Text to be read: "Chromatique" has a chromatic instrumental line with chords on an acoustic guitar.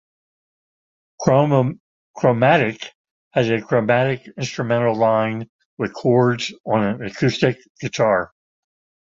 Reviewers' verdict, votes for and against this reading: rejected, 0, 2